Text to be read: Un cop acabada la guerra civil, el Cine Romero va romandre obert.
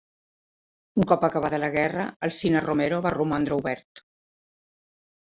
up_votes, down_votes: 1, 3